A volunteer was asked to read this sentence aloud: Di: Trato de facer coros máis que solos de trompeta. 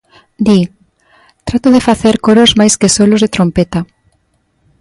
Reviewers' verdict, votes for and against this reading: accepted, 2, 0